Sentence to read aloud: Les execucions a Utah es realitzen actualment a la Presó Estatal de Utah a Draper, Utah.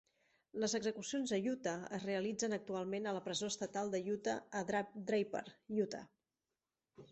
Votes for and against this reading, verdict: 0, 3, rejected